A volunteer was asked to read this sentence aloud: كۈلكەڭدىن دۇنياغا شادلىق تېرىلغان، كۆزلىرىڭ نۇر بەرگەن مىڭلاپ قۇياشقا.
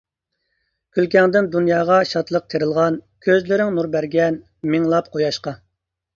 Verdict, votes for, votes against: accepted, 2, 0